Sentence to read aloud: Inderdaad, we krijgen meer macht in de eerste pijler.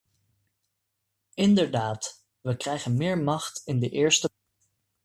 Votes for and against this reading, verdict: 0, 2, rejected